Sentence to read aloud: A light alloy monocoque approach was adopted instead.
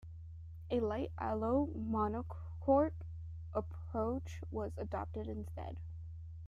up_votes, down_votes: 1, 3